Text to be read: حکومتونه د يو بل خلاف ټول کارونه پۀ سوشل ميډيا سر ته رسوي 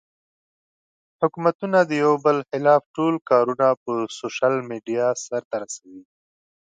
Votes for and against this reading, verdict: 2, 0, accepted